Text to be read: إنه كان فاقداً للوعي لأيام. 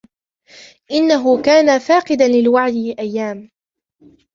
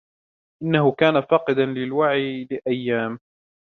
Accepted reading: second